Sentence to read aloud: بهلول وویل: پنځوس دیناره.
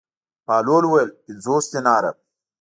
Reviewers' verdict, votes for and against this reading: accepted, 2, 0